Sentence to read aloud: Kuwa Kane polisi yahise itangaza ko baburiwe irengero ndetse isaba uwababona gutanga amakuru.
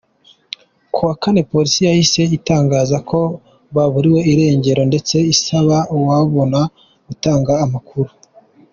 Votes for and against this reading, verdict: 2, 1, accepted